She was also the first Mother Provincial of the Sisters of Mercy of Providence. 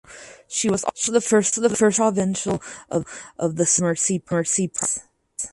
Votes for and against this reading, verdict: 0, 2, rejected